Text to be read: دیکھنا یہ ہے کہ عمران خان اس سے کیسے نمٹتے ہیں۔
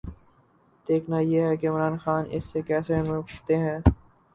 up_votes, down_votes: 0, 2